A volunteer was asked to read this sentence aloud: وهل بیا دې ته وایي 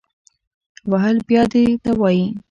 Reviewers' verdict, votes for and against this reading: accepted, 2, 0